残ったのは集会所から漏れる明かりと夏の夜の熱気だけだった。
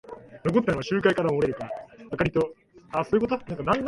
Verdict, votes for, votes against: rejected, 1, 6